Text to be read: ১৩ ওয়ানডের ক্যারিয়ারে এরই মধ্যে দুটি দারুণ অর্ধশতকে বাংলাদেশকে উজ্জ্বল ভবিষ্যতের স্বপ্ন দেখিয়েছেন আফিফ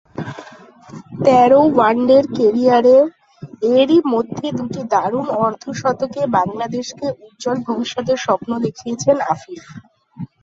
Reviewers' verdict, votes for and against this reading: rejected, 0, 2